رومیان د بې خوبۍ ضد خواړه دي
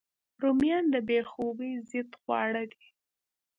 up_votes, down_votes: 1, 2